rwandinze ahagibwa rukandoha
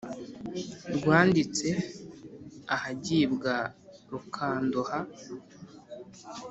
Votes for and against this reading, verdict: 2, 0, accepted